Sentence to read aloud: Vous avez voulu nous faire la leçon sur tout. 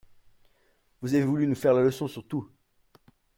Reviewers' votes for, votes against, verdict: 1, 2, rejected